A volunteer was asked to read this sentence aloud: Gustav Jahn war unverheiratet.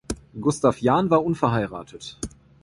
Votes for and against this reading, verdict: 2, 0, accepted